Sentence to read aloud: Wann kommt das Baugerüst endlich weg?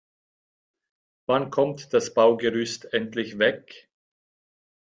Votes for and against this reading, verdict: 2, 0, accepted